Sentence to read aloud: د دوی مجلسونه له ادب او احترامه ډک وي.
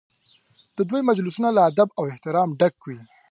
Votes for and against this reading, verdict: 2, 0, accepted